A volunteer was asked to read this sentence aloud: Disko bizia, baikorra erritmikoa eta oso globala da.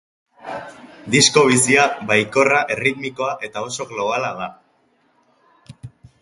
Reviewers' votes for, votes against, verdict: 3, 0, accepted